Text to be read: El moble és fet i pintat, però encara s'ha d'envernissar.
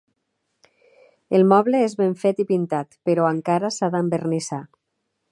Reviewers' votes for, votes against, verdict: 1, 2, rejected